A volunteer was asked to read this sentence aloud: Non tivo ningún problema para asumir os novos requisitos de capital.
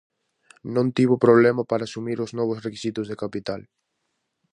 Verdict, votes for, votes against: rejected, 0, 4